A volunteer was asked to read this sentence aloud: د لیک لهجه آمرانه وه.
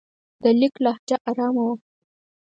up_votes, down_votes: 0, 4